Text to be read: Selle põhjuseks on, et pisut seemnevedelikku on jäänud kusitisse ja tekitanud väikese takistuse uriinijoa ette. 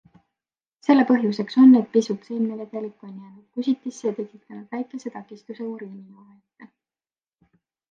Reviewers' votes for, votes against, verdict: 2, 1, accepted